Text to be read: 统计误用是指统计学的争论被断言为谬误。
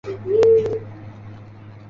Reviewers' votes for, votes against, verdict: 0, 2, rejected